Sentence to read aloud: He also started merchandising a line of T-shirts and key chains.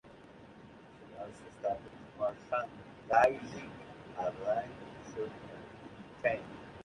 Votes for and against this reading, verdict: 2, 1, accepted